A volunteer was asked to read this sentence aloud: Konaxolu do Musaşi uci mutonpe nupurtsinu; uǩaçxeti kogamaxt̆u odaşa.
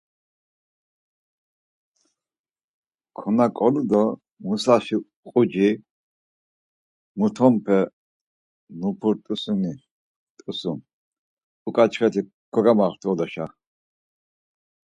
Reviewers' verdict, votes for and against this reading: rejected, 0, 4